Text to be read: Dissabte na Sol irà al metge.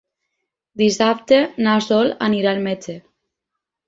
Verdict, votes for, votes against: rejected, 0, 4